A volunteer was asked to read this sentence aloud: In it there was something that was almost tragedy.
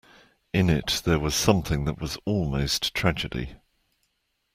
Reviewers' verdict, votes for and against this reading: accepted, 2, 0